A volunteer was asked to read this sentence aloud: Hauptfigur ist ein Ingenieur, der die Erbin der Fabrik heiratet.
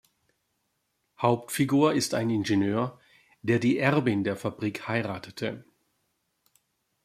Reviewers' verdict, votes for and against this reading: rejected, 1, 2